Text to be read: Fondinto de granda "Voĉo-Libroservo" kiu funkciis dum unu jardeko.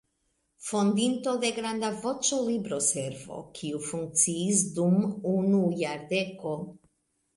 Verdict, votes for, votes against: rejected, 1, 3